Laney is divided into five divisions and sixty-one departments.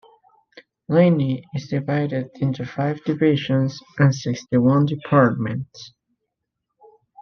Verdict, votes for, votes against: accepted, 2, 0